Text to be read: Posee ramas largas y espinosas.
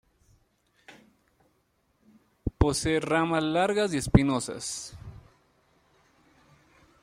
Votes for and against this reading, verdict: 0, 2, rejected